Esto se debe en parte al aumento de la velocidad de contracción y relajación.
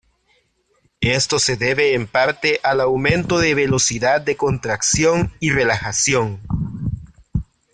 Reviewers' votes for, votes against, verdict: 1, 2, rejected